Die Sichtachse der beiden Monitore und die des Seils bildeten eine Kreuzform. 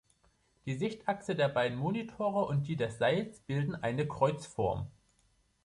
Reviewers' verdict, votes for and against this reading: rejected, 4, 4